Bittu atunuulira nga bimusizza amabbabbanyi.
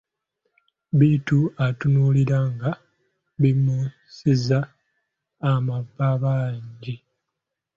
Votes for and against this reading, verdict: 0, 2, rejected